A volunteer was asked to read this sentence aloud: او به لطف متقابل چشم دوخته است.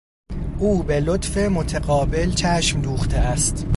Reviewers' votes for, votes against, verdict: 2, 0, accepted